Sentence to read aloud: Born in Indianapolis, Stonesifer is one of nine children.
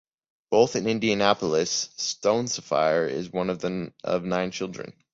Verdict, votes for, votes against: rejected, 0, 3